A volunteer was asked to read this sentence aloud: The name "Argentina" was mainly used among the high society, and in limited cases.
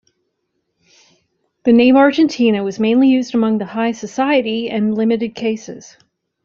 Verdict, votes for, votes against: accepted, 2, 1